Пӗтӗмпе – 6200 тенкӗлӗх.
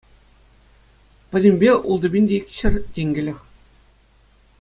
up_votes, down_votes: 0, 2